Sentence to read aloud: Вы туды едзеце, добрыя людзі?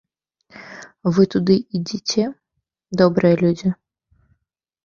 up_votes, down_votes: 0, 2